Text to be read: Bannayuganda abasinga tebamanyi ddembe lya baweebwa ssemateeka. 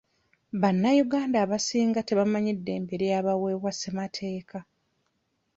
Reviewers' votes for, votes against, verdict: 1, 2, rejected